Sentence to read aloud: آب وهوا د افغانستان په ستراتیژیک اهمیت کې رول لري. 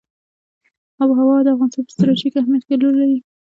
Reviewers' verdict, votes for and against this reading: accepted, 2, 1